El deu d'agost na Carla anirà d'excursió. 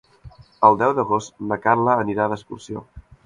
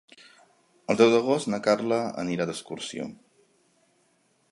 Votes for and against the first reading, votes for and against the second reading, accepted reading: 1, 2, 3, 0, second